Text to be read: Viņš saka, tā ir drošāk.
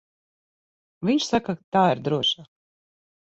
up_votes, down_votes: 3, 6